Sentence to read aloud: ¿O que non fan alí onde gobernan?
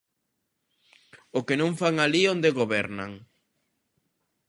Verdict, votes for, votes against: accepted, 3, 0